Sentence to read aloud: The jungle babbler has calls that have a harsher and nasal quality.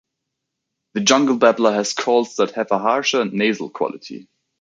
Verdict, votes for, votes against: accepted, 3, 0